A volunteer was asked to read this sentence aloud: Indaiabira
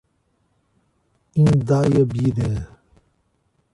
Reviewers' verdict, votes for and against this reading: rejected, 1, 2